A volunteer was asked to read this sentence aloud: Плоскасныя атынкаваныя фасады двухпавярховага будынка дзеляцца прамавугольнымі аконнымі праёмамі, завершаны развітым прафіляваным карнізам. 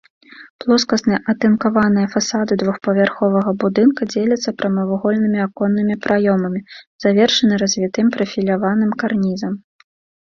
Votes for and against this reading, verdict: 2, 0, accepted